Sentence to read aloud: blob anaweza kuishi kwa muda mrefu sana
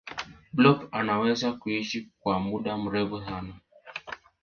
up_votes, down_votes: 4, 0